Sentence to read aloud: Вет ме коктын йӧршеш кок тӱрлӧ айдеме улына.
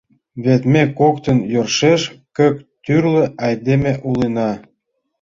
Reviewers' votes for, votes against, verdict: 0, 2, rejected